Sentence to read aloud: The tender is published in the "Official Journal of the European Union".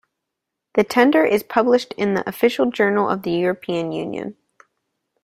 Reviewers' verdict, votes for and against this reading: accepted, 2, 0